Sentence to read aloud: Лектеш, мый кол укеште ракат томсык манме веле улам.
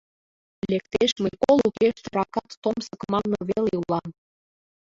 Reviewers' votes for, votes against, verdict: 0, 2, rejected